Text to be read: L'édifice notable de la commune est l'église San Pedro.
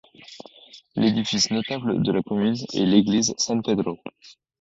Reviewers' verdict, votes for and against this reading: rejected, 0, 2